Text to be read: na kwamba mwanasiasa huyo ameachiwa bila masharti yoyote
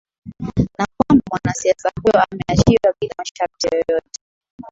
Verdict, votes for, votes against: accepted, 9, 3